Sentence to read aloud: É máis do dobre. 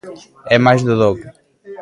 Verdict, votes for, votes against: rejected, 0, 2